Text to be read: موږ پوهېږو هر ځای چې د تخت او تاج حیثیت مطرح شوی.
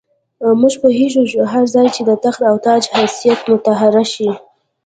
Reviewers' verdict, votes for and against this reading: rejected, 0, 2